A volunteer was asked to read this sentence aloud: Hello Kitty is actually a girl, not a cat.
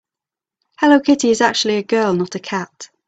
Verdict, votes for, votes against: accepted, 2, 0